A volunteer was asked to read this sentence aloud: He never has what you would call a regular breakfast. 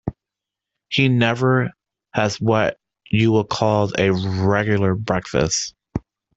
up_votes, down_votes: 2, 0